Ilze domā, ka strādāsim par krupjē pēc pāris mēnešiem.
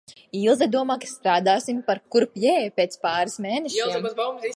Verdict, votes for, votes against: rejected, 0, 3